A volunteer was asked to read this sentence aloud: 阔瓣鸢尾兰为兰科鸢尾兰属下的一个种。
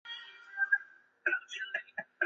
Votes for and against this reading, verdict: 0, 2, rejected